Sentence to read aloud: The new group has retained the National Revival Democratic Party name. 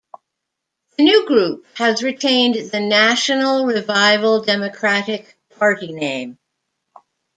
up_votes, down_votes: 2, 0